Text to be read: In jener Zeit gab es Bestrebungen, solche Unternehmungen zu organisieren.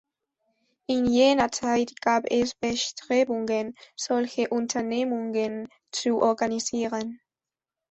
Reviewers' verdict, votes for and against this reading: accepted, 2, 0